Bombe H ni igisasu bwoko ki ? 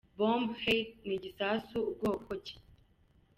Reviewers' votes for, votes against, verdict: 2, 0, accepted